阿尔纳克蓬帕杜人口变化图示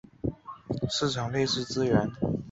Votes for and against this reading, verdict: 0, 5, rejected